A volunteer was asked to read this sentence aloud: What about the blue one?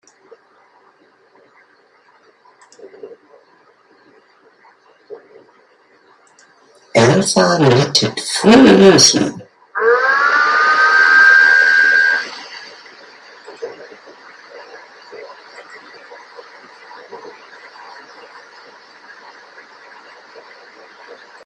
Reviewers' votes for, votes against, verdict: 0, 2, rejected